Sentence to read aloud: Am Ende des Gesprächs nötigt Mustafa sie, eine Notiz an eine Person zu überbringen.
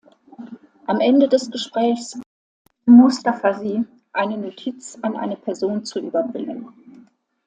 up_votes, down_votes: 0, 2